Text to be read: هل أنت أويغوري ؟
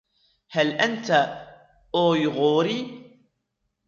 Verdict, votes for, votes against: accepted, 2, 0